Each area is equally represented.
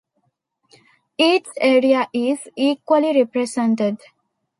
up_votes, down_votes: 2, 0